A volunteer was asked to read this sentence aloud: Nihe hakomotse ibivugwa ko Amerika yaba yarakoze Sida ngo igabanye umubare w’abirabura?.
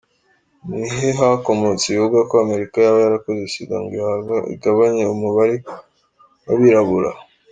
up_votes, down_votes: 0, 2